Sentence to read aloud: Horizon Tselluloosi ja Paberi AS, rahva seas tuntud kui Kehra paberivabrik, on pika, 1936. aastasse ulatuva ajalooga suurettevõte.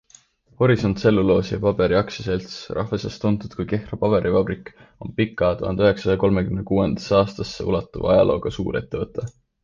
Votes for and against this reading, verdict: 0, 2, rejected